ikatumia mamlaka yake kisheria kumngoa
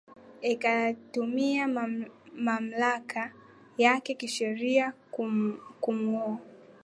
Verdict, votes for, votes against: accepted, 14, 5